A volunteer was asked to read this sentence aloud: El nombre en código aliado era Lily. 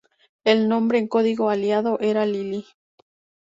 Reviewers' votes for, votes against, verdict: 2, 0, accepted